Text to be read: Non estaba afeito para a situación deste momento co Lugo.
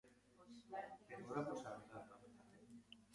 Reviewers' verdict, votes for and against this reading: rejected, 0, 2